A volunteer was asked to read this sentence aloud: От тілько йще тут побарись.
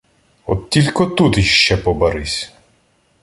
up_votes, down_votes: 1, 2